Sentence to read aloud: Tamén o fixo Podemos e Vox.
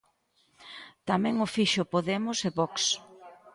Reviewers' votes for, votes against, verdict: 2, 0, accepted